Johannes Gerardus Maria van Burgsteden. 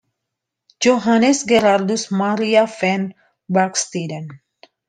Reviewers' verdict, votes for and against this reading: accepted, 2, 1